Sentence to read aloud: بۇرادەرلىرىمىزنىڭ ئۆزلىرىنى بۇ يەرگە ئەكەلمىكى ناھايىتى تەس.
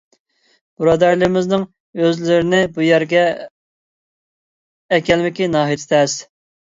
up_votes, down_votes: 0, 2